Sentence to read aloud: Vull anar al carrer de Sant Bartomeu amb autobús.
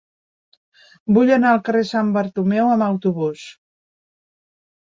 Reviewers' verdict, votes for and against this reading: rejected, 2, 3